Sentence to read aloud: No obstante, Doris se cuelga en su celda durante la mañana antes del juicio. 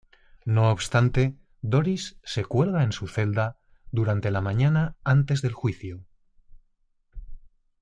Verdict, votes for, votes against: accepted, 2, 0